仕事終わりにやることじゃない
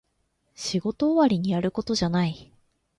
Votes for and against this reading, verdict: 2, 0, accepted